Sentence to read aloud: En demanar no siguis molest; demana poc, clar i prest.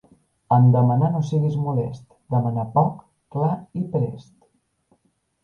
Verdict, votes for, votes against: accepted, 2, 0